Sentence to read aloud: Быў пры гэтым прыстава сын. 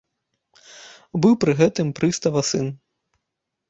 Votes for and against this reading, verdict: 3, 0, accepted